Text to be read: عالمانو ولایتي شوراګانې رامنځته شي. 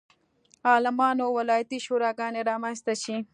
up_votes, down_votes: 2, 0